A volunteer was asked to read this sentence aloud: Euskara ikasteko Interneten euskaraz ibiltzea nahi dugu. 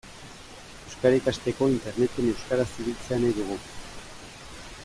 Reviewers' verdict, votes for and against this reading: accepted, 2, 0